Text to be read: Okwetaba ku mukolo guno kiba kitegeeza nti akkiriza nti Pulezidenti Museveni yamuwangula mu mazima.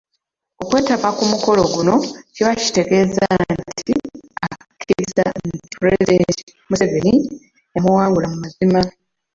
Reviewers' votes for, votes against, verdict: 1, 2, rejected